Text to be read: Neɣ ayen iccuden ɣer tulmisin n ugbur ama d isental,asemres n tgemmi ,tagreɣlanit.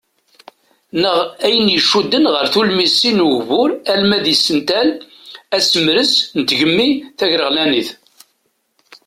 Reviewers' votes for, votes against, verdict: 2, 0, accepted